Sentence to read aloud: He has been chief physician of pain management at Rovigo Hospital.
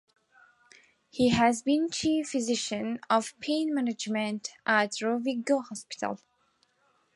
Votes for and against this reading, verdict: 2, 0, accepted